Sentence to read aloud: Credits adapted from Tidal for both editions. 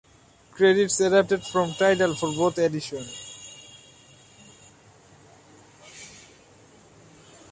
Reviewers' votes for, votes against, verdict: 2, 1, accepted